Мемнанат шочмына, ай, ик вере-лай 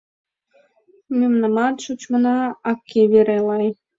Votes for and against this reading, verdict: 1, 2, rejected